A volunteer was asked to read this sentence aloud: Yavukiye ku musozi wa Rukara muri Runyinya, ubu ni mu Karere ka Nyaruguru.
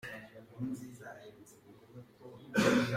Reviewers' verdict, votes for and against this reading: rejected, 0, 2